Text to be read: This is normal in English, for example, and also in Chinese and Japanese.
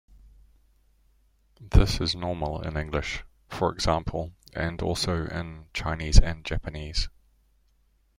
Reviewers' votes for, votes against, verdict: 2, 0, accepted